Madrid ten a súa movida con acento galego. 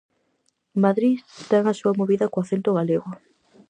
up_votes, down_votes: 0, 4